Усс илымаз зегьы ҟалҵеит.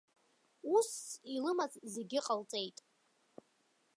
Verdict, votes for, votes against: accepted, 3, 0